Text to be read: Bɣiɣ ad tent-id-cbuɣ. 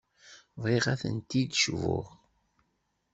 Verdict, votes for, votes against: accepted, 2, 0